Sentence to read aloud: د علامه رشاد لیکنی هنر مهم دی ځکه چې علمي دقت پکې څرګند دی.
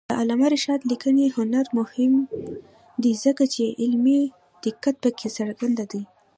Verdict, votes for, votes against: accepted, 2, 0